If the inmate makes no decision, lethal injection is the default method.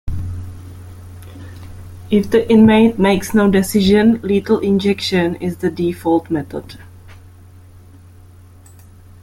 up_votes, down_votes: 2, 0